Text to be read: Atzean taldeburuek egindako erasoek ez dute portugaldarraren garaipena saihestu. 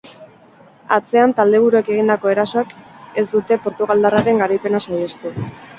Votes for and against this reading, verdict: 2, 0, accepted